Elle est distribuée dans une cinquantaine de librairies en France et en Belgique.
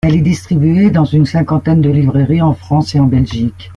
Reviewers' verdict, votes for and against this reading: accepted, 2, 1